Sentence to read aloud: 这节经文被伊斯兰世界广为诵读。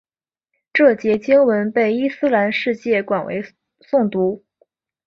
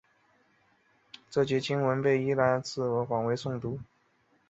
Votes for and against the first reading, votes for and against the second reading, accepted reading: 2, 1, 0, 4, first